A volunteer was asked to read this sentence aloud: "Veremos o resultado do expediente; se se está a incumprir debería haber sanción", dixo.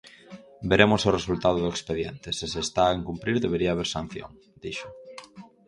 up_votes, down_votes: 0, 4